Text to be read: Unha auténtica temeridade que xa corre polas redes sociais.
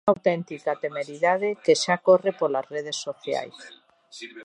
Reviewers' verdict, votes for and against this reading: rejected, 1, 2